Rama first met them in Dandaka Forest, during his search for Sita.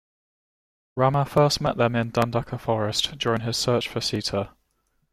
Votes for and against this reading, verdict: 0, 2, rejected